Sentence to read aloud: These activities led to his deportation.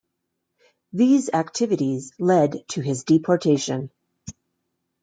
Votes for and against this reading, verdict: 2, 0, accepted